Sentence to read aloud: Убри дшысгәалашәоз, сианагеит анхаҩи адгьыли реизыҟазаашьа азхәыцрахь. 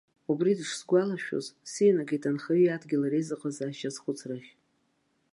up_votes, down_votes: 1, 2